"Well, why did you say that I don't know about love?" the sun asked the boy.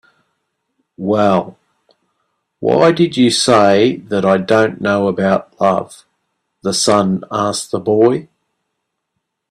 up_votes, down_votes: 3, 0